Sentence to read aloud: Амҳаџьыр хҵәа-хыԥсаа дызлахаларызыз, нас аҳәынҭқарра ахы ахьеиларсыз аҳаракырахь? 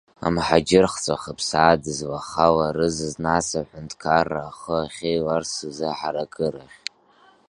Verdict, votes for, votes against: accepted, 3, 0